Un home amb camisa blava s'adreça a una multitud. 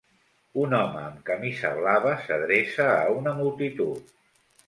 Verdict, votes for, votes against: accepted, 2, 0